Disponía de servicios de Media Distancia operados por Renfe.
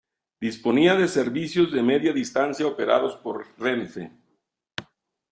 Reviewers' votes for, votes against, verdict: 2, 0, accepted